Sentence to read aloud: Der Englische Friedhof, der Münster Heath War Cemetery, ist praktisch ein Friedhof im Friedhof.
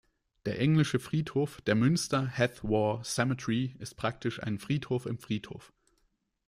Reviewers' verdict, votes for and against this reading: rejected, 0, 2